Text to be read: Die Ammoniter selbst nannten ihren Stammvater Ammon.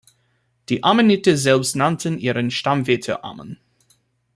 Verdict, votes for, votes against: rejected, 0, 2